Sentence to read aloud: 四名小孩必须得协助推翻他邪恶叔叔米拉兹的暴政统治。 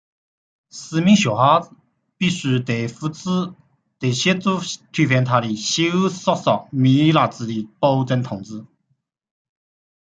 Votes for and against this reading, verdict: 0, 2, rejected